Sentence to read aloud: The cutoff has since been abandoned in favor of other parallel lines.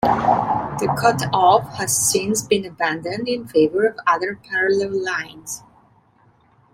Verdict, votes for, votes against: accepted, 2, 0